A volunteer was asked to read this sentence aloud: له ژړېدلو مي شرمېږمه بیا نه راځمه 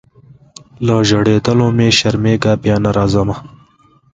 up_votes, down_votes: 2, 0